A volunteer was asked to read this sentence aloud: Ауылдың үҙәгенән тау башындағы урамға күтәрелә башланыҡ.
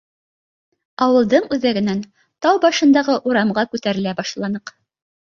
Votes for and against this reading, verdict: 2, 0, accepted